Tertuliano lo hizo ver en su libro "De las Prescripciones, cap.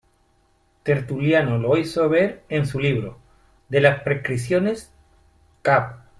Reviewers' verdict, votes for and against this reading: accepted, 2, 0